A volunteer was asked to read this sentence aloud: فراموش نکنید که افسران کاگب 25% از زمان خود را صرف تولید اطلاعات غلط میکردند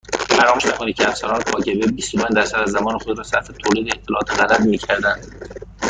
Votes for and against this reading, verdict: 0, 2, rejected